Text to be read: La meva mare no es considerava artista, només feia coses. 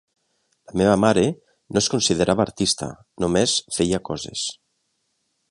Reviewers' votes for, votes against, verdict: 3, 1, accepted